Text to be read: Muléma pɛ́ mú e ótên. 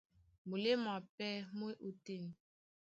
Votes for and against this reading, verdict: 2, 0, accepted